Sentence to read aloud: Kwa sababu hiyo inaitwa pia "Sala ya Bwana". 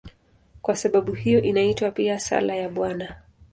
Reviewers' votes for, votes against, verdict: 2, 0, accepted